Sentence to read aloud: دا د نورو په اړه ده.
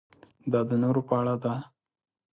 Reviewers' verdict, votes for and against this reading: accepted, 2, 0